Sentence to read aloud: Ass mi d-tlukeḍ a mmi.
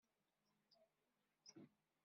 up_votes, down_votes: 1, 2